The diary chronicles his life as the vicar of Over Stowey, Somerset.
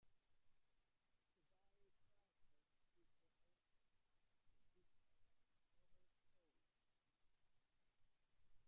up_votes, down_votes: 0, 2